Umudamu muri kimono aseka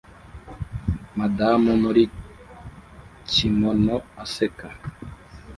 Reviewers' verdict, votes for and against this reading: rejected, 1, 2